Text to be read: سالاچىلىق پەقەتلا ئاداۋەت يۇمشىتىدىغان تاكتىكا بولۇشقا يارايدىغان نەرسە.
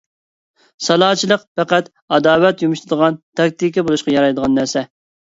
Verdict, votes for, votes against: accepted, 2, 0